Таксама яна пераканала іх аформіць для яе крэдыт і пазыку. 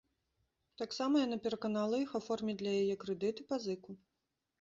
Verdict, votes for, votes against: accepted, 2, 0